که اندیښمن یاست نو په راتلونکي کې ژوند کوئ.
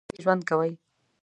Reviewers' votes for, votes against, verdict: 0, 2, rejected